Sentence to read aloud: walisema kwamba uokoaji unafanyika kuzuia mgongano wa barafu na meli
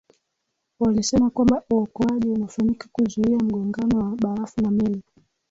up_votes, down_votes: 0, 2